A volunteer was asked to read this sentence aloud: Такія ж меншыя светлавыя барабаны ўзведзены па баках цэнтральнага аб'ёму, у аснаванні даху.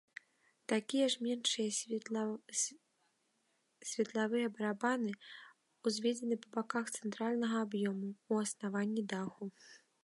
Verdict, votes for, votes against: rejected, 0, 2